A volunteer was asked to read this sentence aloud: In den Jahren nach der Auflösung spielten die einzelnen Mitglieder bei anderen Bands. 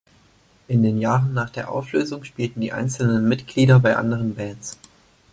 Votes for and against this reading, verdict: 2, 0, accepted